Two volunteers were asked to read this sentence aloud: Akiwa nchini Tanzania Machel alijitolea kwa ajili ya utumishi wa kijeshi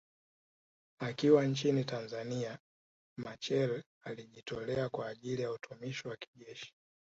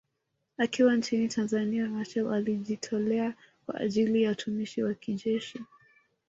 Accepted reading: second